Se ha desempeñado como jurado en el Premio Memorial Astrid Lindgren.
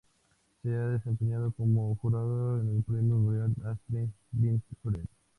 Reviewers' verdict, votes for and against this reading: accepted, 2, 0